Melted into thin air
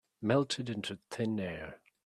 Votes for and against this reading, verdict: 4, 0, accepted